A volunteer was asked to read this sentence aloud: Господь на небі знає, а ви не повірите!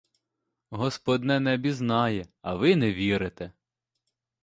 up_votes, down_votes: 0, 2